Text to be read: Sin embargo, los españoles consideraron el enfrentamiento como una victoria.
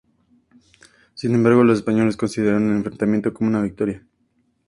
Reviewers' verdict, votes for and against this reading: accepted, 2, 0